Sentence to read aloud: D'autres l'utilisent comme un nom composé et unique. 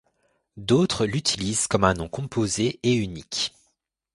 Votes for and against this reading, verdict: 2, 0, accepted